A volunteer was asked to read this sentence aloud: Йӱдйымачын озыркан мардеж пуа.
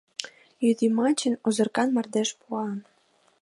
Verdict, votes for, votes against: accepted, 2, 0